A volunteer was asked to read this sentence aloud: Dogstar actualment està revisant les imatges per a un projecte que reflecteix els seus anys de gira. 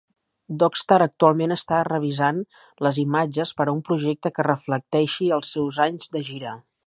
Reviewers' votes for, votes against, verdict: 1, 2, rejected